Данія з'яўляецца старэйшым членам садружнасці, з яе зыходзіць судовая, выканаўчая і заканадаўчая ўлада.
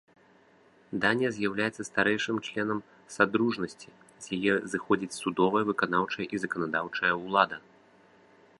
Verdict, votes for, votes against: accepted, 2, 0